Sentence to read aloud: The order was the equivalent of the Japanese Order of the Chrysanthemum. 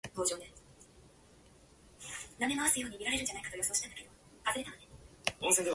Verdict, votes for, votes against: rejected, 0, 2